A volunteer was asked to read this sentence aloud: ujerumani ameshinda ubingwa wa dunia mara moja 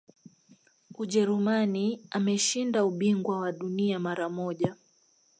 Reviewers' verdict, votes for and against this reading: accepted, 2, 0